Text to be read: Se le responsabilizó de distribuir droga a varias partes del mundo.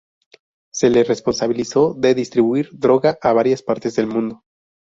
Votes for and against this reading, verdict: 2, 0, accepted